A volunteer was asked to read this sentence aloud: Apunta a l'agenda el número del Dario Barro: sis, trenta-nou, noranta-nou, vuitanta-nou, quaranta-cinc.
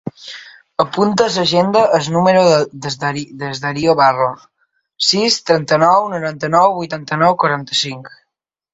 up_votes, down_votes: 1, 2